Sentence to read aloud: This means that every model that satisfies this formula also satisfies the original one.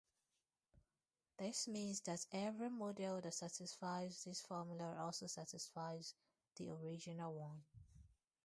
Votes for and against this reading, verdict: 0, 4, rejected